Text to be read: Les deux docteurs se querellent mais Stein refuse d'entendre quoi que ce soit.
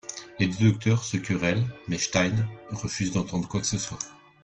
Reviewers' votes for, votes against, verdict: 2, 1, accepted